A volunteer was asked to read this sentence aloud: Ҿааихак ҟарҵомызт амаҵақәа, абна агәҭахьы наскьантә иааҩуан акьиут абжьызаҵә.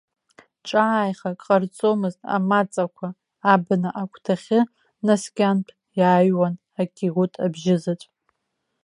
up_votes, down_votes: 0, 2